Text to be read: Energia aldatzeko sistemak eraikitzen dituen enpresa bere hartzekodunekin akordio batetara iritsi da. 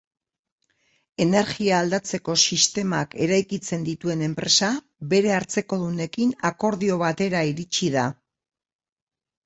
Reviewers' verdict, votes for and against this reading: rejected, 1, 2